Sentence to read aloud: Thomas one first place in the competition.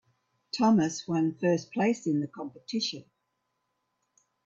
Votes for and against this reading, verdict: 2, 0, accepted